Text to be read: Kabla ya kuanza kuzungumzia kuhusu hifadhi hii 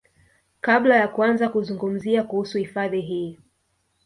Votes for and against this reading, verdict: 0, 2, rejected